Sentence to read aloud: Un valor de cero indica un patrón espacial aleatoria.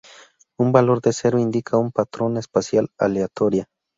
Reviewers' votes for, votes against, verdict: 0, 2, rejected